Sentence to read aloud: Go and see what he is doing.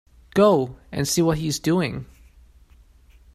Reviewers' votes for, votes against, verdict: 2, 0, accepted